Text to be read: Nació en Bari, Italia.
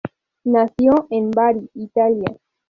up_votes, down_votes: 2, 0